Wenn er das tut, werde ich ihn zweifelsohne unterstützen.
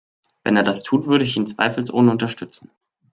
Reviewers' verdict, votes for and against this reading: rejected, 0, 2